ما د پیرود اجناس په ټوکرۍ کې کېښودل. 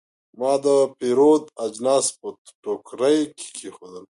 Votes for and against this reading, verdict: 0, 2, rejected